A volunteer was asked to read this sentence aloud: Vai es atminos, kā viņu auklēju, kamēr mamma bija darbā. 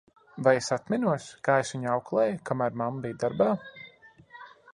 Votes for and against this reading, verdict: 1, 2, rejected